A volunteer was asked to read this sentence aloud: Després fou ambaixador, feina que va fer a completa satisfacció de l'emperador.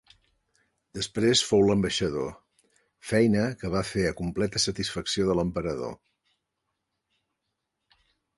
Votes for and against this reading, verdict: 0, 2, rejected